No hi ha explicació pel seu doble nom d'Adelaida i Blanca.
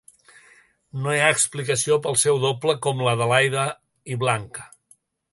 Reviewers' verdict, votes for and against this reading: rejected, 1, 2